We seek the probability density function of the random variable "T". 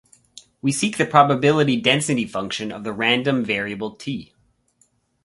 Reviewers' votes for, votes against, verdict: 4, 0, accepted